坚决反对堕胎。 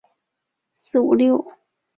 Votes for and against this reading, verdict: 0, 4, rejected